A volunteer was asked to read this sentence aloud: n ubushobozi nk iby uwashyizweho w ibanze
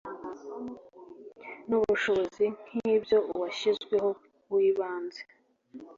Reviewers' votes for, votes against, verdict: 2, 0, accepted